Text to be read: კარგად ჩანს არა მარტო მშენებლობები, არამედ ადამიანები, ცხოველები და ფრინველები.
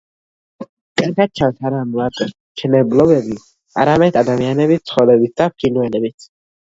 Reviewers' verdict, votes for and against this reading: rejected, 1, 2